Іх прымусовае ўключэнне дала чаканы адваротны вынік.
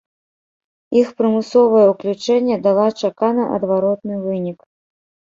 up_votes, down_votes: 0, 2